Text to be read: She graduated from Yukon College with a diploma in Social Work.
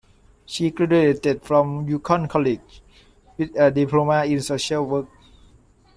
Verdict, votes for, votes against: accepted, 2, 1